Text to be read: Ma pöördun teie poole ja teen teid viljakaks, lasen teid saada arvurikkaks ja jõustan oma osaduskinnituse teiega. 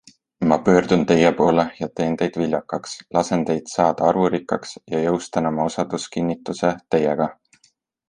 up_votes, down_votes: 2, 0